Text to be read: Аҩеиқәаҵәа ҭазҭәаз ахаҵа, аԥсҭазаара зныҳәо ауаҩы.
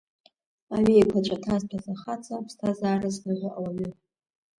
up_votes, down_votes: 2, 1